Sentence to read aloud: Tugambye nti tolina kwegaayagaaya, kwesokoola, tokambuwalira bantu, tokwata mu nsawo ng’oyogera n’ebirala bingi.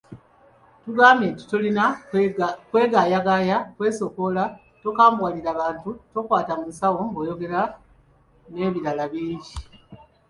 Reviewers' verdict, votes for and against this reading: rejected, 1, 2